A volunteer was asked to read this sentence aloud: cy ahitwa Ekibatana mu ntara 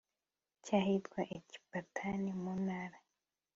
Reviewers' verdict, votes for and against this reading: accepted, 2, 0